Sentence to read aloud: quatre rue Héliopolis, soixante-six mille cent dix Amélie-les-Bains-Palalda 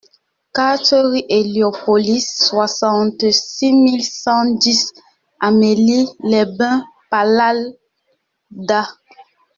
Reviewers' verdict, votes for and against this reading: rejected, 1, 2